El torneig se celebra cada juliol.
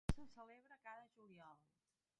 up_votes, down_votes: 0, 2